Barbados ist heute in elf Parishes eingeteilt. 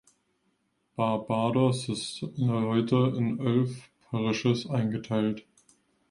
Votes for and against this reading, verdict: 1, 2, rejected